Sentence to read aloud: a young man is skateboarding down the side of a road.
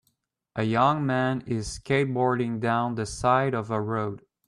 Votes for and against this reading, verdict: 2, 0, accepted